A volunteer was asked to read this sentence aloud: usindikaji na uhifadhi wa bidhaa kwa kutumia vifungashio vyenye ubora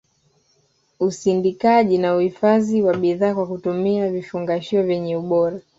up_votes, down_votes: 2, 0